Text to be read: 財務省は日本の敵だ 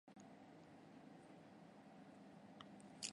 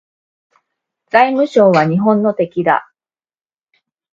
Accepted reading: second